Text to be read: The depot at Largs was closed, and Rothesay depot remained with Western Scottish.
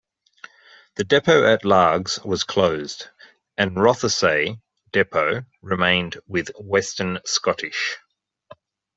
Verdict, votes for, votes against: accepted, 2, 0